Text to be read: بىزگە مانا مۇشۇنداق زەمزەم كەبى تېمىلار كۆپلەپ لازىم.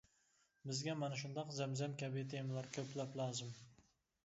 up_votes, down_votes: 0, 2